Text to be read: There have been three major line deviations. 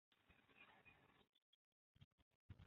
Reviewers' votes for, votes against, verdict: 0, 2, rejected